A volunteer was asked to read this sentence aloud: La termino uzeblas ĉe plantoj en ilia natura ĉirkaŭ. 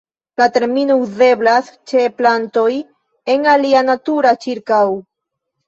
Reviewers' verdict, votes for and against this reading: rejected, 1, 2